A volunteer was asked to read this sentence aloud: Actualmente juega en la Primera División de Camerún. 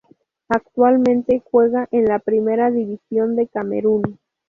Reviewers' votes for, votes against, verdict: 2, 0, accepted